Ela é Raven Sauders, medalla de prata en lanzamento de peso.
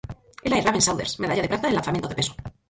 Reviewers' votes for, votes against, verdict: 0, 4, rejected